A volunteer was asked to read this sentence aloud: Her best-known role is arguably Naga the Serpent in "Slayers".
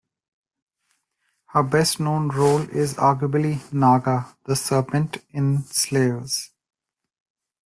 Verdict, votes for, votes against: accepted, 2, 0